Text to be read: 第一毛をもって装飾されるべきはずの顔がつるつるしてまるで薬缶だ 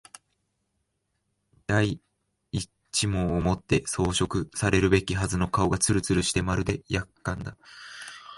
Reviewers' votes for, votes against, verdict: 2, 0, accepted